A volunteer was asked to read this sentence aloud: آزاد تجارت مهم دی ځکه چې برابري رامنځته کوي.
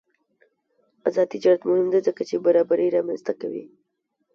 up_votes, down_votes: 0, 2